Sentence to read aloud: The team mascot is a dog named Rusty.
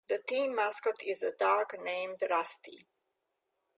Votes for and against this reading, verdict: 2, 0, accepted